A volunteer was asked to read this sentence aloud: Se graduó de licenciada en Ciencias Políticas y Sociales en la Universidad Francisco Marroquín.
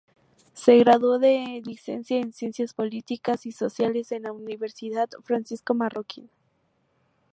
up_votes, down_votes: 2, 0